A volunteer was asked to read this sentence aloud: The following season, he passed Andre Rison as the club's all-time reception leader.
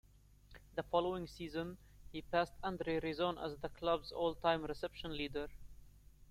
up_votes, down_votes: 2, 0